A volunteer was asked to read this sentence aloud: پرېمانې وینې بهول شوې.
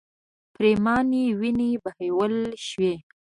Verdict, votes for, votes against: accepted, 2, 1